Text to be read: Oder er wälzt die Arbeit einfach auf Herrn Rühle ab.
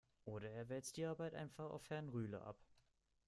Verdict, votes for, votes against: accepted, 2, 0